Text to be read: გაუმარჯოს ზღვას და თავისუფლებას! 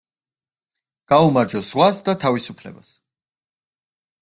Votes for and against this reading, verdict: 1, 2, rejected